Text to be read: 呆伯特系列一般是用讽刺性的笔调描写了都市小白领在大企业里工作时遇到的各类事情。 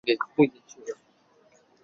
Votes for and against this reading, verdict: 0, 2, rejected